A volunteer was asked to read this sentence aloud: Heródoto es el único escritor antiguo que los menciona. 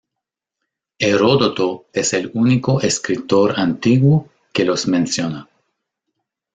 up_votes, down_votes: 2, 0